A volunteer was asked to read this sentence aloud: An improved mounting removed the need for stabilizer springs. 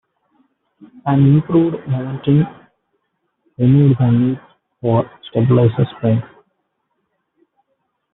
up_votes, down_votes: 1, 2